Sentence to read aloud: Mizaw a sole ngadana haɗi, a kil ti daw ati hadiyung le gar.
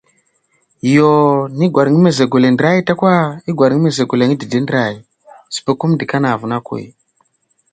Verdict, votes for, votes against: rejected, 0, 2